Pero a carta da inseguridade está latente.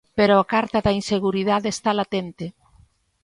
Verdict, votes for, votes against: accepted, 2, 0